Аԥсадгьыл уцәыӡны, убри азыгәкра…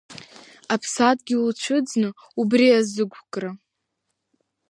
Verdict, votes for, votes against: rejected, 1, 2